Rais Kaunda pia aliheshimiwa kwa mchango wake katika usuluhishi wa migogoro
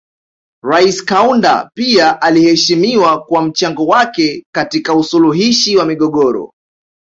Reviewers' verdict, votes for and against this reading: accepted, 2, 0